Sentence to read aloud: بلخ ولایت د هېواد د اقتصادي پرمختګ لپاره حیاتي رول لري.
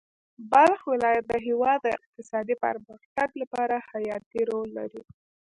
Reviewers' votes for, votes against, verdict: 1, 2, rejected